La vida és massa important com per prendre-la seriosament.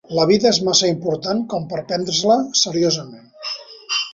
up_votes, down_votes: 1, 2